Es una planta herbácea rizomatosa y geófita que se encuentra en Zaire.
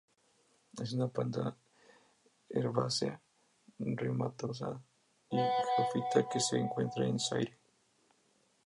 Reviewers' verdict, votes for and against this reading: rejected, 0, 4